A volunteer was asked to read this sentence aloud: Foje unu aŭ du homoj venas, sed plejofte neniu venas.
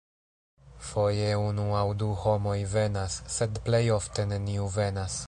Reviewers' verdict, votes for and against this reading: accepted, 2, 0